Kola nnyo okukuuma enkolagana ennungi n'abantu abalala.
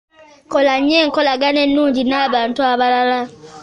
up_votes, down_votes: 1, 2